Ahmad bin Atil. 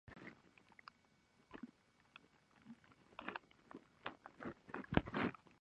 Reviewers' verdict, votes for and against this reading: rejected, 0, 2